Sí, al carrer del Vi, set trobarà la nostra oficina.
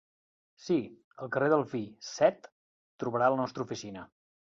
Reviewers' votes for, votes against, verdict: 1, 2, rejected